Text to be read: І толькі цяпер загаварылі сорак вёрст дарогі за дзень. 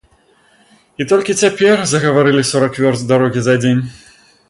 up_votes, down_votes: 2, 0